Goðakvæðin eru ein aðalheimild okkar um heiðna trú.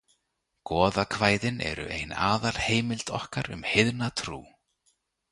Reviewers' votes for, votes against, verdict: 2, 0, accepted